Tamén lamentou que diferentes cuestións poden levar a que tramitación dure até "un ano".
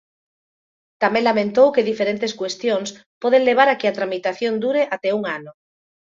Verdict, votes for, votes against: accepted, 2, 0